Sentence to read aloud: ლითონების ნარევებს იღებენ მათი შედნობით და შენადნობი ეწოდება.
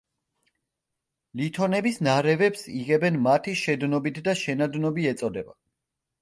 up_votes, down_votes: 3, 0